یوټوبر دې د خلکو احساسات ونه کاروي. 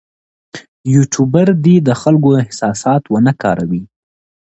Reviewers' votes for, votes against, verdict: 2, 0, accepted